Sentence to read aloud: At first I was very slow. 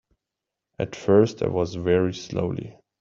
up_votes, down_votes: 0, 2